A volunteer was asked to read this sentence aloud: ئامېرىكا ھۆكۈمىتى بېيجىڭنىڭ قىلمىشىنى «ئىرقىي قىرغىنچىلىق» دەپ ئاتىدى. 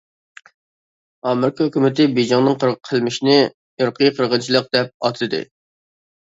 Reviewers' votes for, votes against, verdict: 1, 2, rejected